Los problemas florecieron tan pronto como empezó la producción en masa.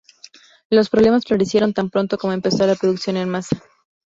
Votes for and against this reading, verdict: 2, 0, accepted